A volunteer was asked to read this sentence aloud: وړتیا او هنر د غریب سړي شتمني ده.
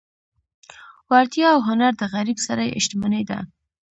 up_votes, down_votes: 2, 0